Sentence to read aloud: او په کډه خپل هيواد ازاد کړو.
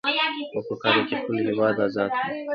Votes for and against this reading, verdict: 2, 0, accepted